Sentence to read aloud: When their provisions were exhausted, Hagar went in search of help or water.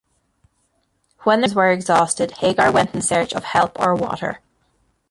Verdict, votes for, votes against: rejected, 0, 2